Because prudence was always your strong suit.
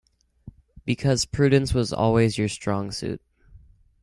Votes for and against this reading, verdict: 2, 0, accepted